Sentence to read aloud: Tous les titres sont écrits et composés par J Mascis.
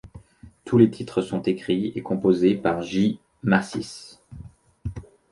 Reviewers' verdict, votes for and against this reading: accepted, 2, 0